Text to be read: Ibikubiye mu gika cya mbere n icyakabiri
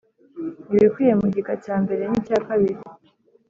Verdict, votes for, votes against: accepted, 3, 0